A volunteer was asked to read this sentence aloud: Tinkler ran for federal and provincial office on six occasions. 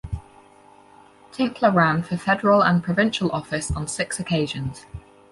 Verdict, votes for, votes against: accepted, 4, 0